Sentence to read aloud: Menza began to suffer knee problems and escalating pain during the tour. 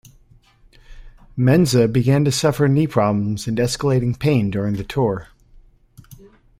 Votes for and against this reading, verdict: 2, 0, accepted